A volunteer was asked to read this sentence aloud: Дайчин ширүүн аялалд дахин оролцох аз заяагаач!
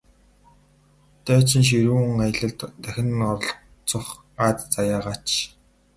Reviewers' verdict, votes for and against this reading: rejected, 0, 4